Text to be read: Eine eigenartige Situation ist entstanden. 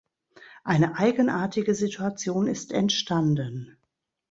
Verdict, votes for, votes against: accepted, 2, 0